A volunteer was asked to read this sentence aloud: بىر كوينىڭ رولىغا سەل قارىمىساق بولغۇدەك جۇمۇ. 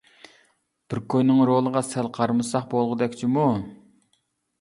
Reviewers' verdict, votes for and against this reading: accepted, 2, 0